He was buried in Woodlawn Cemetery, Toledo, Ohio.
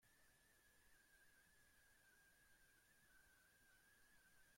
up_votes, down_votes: 0, 2